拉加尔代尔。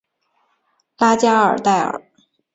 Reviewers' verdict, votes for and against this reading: accepted, 4, 0